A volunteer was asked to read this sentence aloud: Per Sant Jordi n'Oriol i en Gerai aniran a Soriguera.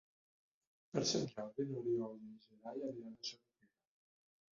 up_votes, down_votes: 0, 2